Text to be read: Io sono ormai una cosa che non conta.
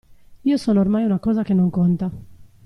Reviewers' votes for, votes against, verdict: 2, 0, accepted